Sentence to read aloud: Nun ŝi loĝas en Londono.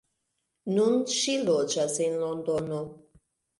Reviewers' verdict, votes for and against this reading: accepted, 2, 0